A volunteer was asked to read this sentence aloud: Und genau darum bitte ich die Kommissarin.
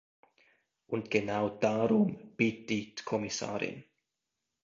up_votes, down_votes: 0, 2